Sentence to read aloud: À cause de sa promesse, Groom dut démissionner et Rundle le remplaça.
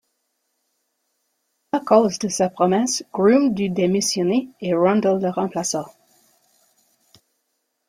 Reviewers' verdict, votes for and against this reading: accepted, 3, 1